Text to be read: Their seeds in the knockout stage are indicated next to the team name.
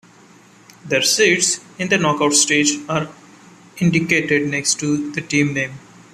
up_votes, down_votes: 1, 2